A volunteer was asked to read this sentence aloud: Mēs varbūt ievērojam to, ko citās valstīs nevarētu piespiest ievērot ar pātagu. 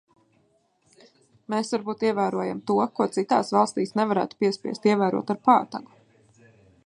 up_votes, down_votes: 2, 0